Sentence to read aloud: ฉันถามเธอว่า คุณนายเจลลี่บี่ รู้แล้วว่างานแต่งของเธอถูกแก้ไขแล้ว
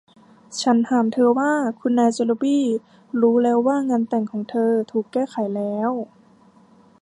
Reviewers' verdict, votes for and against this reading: accepted, 2, 1